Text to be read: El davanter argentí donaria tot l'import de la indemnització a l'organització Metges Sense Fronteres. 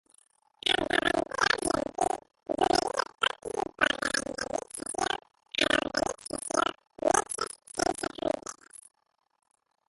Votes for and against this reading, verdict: 0, 2, rejected